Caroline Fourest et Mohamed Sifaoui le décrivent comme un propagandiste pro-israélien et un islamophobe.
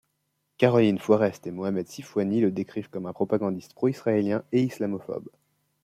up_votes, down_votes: 1, 3